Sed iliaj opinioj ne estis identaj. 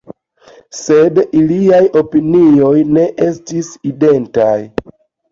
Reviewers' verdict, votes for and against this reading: accepted, 2, 0